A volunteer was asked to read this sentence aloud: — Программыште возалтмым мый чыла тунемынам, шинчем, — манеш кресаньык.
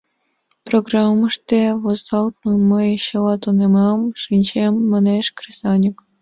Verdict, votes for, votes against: rejected, 1, 2